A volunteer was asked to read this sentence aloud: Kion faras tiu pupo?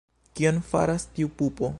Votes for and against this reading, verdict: 1, 2, rejected